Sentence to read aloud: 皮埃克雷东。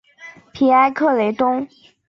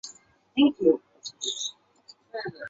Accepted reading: first